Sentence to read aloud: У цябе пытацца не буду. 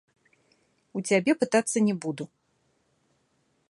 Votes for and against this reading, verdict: 2, 1, accepted